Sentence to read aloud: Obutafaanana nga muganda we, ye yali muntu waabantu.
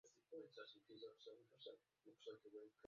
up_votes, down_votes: 0, 2